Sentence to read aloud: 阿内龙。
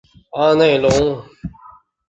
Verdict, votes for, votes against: accepted, 5, 0